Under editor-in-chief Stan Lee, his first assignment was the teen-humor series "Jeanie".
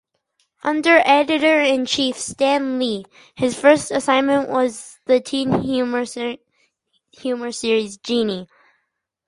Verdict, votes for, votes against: rejected, 2, 4